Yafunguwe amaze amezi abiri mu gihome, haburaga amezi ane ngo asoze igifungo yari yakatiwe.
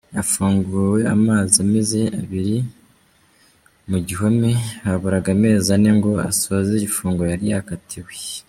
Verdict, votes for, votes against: rejected, 0, 3